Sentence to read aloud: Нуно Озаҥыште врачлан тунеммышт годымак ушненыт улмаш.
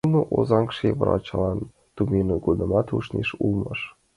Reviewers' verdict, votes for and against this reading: rejected, 0, 2